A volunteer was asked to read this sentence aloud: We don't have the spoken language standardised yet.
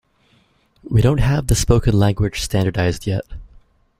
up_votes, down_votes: 2, 0